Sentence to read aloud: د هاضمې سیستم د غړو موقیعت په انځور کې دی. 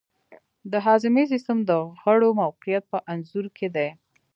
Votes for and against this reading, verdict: 2, 0, accepted